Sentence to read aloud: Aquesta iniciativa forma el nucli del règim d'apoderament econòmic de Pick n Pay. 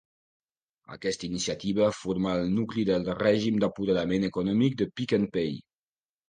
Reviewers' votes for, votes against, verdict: 2, 0, accepted